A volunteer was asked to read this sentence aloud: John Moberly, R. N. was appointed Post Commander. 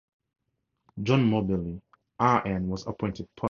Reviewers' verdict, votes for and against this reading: rejected, 0, 4